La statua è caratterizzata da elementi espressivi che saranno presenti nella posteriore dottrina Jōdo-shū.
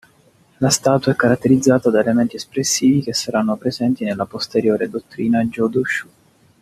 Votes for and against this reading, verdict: 2, 0, accepted